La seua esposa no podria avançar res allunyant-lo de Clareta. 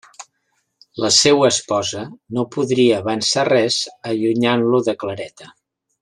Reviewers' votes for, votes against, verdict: 3, 0, accepted